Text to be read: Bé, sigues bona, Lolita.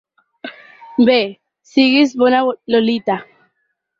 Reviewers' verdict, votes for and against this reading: rejected, 2, 4